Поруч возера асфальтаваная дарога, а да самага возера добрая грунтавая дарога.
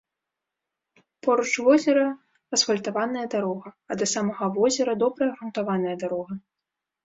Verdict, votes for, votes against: rejected, 1, 2